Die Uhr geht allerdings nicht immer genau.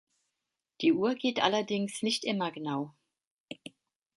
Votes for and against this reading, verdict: 2, 0, accepted